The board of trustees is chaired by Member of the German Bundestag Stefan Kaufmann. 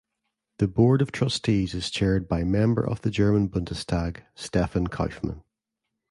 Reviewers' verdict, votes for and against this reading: accepted, 2, 0